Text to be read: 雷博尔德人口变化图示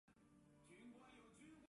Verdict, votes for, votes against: rejected, 0, 2